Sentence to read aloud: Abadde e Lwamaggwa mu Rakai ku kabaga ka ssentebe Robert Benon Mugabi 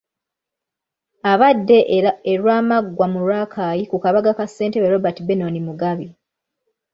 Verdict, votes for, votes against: rejected, 1, 2